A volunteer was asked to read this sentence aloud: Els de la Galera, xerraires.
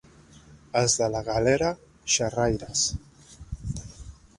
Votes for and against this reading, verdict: 2, 0, accepted